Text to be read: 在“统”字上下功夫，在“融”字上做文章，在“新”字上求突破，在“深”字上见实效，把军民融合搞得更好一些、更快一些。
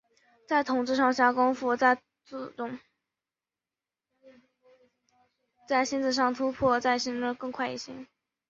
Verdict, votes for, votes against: rejected, 0, 2